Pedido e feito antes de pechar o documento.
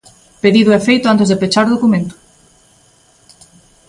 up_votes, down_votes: 2, 0